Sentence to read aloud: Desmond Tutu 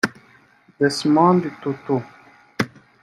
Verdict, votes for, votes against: rejected, 1, 2